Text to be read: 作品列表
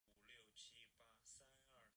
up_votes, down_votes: 1, 2